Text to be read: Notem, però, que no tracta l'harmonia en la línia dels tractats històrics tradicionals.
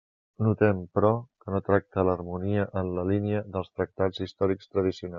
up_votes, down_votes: 1, 2